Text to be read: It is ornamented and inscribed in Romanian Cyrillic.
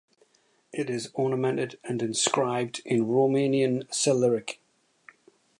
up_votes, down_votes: 0, 2